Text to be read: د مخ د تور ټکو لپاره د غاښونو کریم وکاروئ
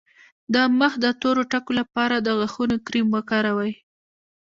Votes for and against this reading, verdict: 1, 2, rejected